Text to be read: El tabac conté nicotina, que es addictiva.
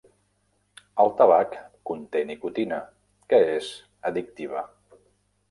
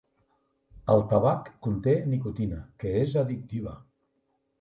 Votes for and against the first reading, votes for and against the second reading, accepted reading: 0, 2, 3, 0, second